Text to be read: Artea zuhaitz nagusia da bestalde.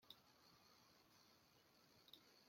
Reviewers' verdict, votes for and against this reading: rejected, 0, 2